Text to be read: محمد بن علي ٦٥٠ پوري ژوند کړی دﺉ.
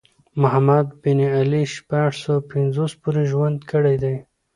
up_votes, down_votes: 0, 2